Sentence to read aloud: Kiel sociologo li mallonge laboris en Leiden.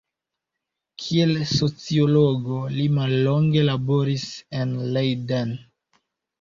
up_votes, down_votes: 2, 1